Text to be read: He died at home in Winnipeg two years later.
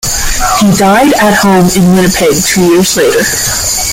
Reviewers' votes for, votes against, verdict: 0, 2, rejected